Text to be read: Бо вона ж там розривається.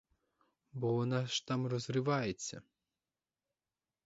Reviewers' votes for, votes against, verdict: 4, 0, accepted